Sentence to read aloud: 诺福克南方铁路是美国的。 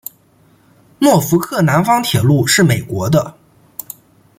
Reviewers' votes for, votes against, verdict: 2, 0, accepted